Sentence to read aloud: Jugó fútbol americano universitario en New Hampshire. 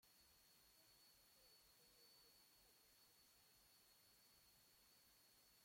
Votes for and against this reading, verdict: 0, 2, rejected